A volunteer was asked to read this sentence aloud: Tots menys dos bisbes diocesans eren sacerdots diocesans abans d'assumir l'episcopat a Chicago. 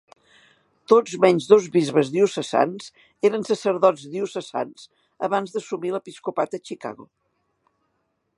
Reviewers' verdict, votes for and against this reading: accepted, 3, 0